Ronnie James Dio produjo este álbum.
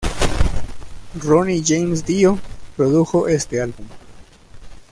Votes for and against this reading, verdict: 1, 2, rejected